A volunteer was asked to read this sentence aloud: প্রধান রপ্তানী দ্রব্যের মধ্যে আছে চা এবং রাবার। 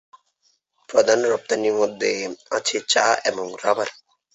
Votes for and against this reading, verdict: 1, 2, rejected